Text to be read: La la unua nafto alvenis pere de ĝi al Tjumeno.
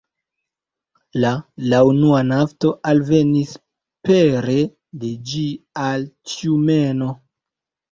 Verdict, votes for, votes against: rejected, 0, 2